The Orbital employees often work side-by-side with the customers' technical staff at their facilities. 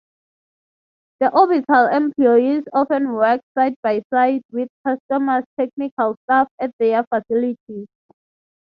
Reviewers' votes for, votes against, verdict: 0, 3, rejected